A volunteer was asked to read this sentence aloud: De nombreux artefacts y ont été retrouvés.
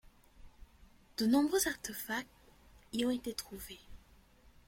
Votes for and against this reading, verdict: 2, 0, accepted